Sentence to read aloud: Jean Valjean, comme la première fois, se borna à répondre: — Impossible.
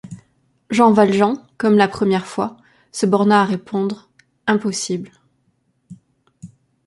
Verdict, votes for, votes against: accepted, 2, 0